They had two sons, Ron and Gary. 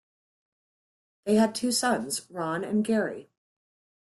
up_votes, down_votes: 2, 0